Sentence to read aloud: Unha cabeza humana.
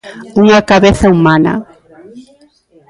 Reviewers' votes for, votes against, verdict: 2, 0, accepted